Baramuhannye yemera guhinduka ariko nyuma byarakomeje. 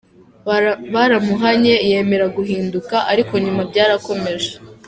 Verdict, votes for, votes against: rejected, 0, 2